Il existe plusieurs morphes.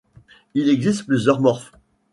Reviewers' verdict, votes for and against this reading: accepted, 2, 0